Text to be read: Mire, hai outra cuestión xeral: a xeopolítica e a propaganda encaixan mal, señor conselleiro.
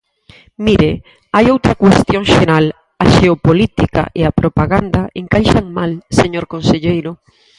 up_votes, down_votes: 2, 4